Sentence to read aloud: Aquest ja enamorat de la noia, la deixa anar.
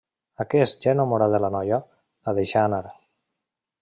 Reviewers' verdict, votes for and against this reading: accepted, 2, 0